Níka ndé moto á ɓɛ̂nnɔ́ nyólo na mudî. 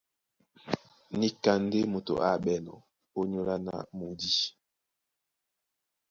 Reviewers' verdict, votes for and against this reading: rejected, 1, 2